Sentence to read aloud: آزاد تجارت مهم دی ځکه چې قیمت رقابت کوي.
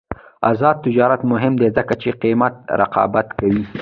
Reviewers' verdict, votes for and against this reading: rejected, 1, 2